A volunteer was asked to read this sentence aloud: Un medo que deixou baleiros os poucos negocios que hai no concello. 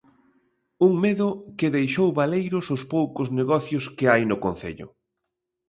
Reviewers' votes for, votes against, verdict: 2, 0, accepted